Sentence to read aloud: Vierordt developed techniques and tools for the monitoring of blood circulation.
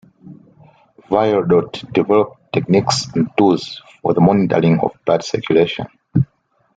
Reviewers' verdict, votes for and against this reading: accepted, 2, 0